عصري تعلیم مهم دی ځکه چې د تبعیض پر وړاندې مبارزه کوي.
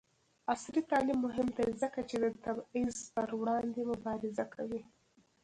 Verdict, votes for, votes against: rejected, 0, 2